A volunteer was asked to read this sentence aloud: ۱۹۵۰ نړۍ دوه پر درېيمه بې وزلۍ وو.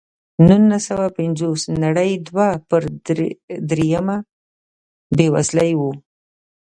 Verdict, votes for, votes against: rejected, 0, 2